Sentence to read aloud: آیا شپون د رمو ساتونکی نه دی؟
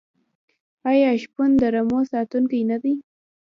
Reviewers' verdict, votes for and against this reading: rejected, 1, 3